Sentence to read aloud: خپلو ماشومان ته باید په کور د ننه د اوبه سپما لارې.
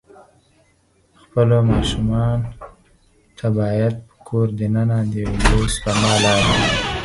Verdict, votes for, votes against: rejected, 0, 4